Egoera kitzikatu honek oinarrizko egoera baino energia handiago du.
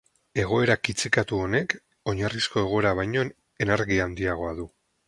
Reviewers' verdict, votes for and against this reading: accepted, 8, 0